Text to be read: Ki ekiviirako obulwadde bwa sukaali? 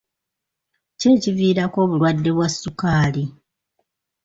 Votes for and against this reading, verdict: 2, 0, accepted